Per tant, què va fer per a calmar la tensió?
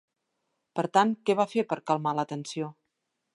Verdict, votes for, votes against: accepted, 2, 0